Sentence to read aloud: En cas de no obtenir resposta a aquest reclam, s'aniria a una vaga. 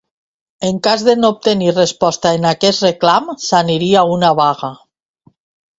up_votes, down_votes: 1, 2